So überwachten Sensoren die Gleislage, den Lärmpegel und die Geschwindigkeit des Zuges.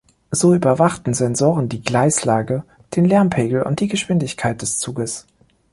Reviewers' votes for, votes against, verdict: 2, 0, accepted